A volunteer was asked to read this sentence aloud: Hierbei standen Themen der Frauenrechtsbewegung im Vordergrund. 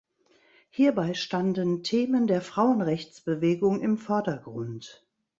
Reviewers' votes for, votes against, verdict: 2, 0, accepted